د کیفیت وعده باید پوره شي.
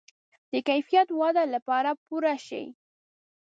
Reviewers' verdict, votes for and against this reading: rejected, 1, 2